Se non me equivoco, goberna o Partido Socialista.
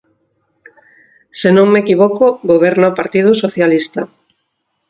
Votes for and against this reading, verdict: 4, 0, accepted